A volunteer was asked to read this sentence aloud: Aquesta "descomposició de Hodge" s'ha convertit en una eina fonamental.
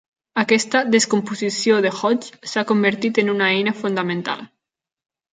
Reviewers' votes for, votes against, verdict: 1, 2, rejected